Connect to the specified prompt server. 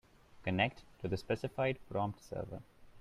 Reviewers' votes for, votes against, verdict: 2, 0, accepted